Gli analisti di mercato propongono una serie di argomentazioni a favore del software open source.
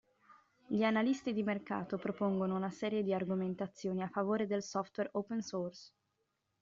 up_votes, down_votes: 2, 0